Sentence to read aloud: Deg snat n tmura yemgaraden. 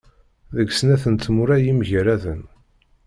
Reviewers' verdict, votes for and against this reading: rejected, 1, 2